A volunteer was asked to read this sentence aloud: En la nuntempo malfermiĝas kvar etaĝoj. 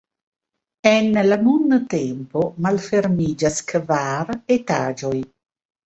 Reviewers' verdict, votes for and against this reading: rejected, 1, 2